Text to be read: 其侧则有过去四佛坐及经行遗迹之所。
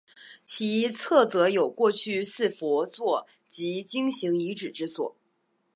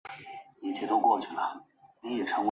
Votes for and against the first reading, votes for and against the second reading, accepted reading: 3, 0, 0, 2, first